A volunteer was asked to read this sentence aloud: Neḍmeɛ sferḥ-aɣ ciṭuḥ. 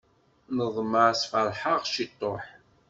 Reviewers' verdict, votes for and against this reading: accepted, 2, 0